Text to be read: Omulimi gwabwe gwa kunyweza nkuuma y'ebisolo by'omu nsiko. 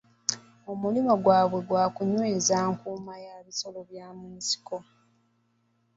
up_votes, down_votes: 2, 1